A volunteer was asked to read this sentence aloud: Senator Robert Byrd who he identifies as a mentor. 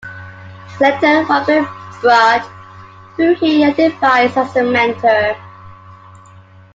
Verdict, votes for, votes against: rejected, 0, 2